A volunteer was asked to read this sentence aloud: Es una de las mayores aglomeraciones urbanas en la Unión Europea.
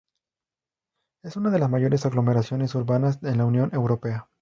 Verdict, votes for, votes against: accepted, 2, 0